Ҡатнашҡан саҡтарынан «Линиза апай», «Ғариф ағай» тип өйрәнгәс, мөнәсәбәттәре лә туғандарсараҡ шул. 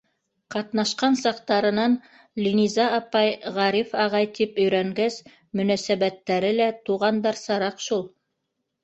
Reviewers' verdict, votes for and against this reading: accepted, 2, 0